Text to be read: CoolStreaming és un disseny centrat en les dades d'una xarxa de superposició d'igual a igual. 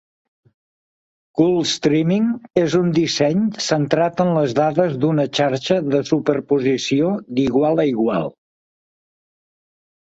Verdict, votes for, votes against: accepted, 3, 0